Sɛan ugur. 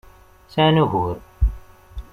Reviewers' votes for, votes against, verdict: 2, 0, accepted